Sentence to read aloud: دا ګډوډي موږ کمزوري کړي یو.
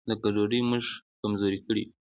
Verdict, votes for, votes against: accepted, 2, 0